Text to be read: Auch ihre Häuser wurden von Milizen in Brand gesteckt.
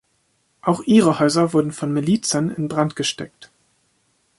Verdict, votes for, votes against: accepted, 2, 0